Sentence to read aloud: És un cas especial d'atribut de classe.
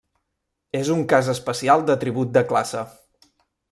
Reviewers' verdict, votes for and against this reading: accepted, 2, 0